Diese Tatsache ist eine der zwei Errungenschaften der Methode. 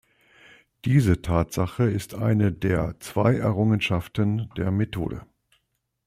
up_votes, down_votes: 2, 0